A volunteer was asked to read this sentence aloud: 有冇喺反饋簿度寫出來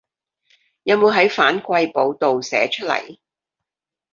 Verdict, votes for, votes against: rejected, 1, 2